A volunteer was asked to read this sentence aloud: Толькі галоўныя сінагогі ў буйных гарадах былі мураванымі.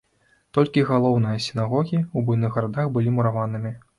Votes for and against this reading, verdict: 2, 0, accepted